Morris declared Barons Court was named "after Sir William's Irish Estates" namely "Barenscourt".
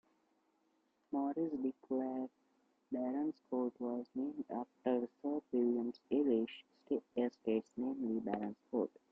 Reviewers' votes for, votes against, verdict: 0, 2, rejected